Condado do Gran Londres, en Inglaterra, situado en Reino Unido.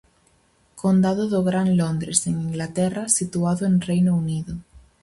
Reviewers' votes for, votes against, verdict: 4, 0, accepted